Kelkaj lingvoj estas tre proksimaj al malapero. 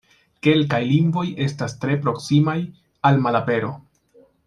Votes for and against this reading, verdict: 2, 0, accepted